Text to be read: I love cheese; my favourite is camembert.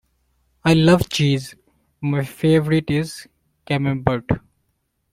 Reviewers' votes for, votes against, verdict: 2, 0, accepted